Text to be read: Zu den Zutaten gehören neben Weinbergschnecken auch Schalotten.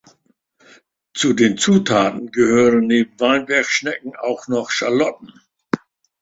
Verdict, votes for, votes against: rejected, 0, 2